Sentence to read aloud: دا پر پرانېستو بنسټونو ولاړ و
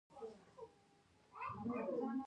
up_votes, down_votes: 1, 2